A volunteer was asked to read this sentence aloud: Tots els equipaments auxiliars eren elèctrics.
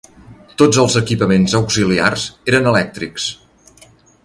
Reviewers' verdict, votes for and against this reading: accepted, 3, 0